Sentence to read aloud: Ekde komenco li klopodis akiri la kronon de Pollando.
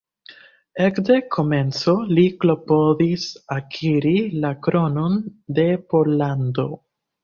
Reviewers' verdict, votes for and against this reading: accepted, 2, 1